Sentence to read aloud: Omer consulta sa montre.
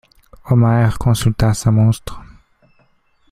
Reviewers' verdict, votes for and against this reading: rejected, 1, 2